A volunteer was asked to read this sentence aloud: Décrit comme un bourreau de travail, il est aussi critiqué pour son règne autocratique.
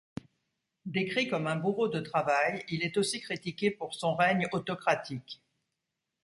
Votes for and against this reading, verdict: 2, 0, accepted